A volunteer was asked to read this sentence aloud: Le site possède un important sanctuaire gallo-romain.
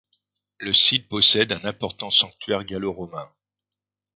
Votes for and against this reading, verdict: 2, 0, accepted